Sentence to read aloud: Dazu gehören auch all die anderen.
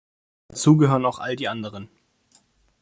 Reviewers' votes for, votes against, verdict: 0, 2, rejected